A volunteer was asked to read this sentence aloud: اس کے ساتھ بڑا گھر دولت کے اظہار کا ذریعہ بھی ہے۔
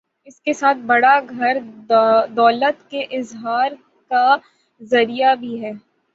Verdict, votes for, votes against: rejected, 0, 3